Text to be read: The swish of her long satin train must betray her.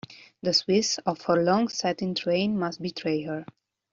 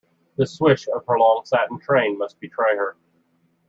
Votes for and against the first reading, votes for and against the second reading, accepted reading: 0, 2, 2, 0, second